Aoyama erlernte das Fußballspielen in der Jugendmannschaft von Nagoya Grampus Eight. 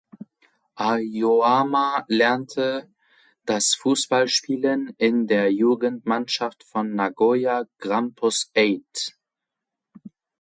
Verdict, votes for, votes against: rejected, 0, 2